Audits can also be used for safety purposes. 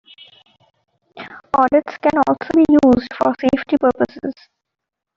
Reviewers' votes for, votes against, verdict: 0, 2, rejected